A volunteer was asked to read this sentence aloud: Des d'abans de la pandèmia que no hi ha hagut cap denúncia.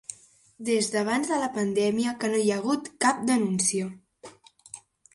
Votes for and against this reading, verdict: 2, 0, accepted